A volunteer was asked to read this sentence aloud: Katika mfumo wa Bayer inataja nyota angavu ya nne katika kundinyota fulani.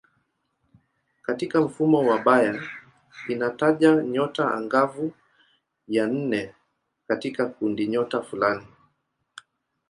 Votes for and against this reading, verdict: 2, 0, accepted